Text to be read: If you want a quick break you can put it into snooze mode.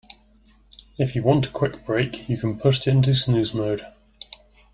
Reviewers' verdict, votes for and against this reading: accepted, 2, 1